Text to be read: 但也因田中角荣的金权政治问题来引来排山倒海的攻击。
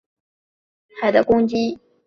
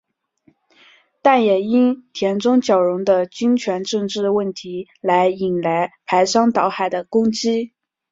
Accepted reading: second